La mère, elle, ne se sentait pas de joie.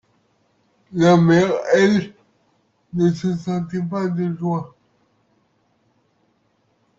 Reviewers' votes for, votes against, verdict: 2, 1, accepted